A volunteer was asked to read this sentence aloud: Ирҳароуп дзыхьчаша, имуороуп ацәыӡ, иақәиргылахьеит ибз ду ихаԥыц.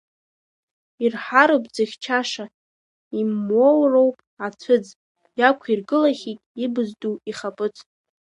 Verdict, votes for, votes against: rejected, 0, 2